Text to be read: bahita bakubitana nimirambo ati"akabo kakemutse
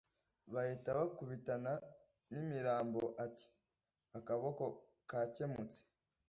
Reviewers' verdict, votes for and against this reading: rejected, 1, 2